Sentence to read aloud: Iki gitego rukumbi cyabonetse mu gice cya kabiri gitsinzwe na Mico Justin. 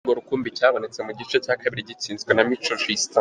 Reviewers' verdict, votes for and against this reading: rejected, 1, 2